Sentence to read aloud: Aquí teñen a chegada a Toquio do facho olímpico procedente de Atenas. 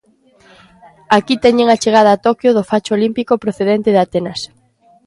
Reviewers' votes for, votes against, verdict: 2, 0, accepted